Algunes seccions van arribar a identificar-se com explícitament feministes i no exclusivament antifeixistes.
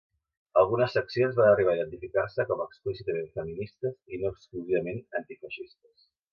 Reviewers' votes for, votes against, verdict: 2, 1, accepted